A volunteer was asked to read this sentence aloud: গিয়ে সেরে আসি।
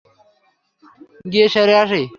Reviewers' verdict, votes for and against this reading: accepted, 3, 0